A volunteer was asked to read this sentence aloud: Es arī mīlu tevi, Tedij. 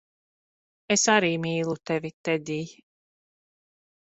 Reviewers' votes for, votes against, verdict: 2, 0, accepted